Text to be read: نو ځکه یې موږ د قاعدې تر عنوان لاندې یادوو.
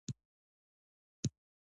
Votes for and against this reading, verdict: 1, 2, rejected